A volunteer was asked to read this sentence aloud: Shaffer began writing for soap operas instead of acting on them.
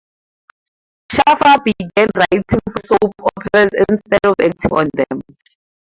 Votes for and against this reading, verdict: 0, 4, rejected